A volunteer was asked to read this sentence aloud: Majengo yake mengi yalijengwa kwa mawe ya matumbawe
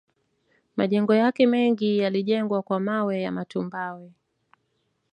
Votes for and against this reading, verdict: 1, 2, rejected